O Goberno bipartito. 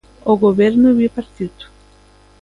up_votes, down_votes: 2, 0